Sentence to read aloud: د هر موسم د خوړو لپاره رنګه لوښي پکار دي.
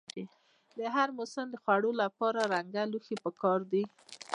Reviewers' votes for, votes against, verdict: 1, 2, rejected